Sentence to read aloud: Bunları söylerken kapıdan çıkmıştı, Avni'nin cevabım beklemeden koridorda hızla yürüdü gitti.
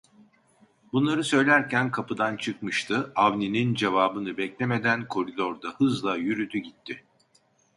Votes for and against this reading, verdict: 1, 2, rejected